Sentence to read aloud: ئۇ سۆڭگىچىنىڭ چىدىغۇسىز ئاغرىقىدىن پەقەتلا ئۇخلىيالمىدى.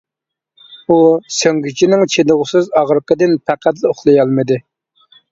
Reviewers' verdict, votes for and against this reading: accepted, 2, 0